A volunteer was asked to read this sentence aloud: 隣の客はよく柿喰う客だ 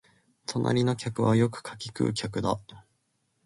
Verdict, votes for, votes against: accepted, 2, 0